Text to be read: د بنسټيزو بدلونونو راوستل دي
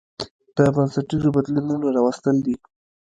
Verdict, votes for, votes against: accepted, 2, 0